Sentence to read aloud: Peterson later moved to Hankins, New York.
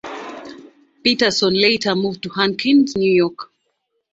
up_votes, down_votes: 2, 0